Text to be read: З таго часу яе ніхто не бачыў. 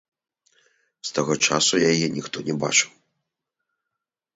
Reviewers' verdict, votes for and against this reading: rejected, 1, 2